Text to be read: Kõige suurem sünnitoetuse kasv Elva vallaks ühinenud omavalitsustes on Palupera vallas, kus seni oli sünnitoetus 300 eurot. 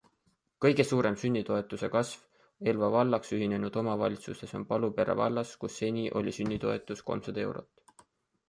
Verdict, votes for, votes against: rejected, 0, 2